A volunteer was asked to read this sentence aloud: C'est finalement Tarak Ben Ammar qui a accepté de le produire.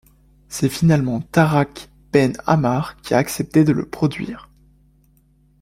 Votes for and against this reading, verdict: 2, 1, accepted